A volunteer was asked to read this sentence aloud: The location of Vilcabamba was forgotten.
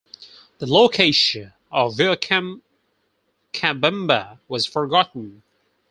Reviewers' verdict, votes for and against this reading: rejected, 0, 4